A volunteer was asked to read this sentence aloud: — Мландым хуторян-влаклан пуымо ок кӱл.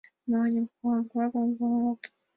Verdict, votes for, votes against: accepted, 2, 1